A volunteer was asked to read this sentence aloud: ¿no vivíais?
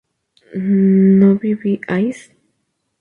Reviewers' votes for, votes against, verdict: 2, 0, accepted